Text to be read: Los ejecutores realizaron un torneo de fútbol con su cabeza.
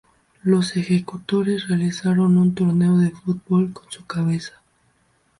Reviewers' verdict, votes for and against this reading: rejected, 0, 2